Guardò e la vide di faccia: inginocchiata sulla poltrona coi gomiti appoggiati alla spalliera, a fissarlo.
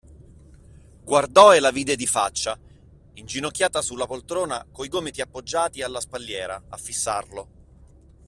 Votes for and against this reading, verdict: 2, 0, accepted